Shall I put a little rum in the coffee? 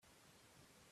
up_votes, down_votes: 0, 2